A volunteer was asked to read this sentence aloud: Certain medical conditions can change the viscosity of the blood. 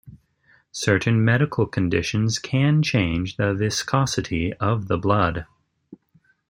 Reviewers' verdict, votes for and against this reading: accepted, 2, 0